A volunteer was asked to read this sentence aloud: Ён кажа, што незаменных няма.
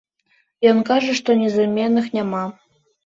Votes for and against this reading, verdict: 2, 0, accepted